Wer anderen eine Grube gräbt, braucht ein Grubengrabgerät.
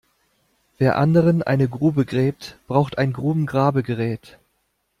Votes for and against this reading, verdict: 0, 2, rejected